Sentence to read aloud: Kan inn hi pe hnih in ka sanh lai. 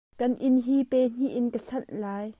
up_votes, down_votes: 2, 0